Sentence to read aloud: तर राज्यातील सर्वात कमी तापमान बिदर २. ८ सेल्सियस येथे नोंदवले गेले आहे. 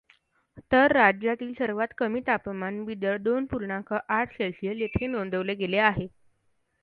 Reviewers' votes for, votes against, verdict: 0, 2, rejected